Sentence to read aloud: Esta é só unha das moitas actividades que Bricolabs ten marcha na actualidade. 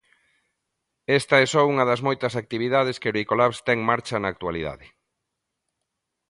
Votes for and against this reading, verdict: 2, 0, accepted